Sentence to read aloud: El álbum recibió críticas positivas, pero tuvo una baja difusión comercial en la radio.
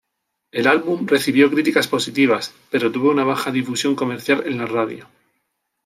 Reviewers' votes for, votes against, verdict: 2, 0, accepted